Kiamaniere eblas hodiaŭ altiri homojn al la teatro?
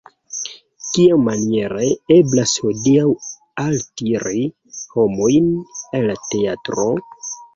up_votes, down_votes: 1, 2